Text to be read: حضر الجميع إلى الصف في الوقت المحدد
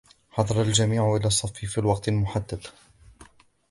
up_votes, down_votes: 2, 0